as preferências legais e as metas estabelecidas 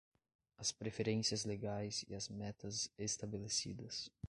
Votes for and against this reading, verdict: 1, 2, rejected